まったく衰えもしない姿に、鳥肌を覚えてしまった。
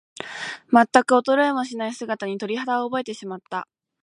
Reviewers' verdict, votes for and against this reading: accepted, 2, 0